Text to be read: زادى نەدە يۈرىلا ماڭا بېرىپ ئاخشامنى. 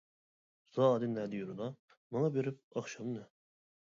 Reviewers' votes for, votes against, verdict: 1, 2, rejected